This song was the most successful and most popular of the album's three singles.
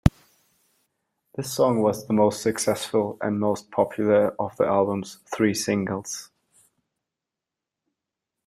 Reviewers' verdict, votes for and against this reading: accepted, 2, 0